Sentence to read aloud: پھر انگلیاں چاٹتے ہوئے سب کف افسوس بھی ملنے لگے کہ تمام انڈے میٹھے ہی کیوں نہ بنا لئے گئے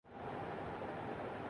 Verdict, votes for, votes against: rejected, 0, 2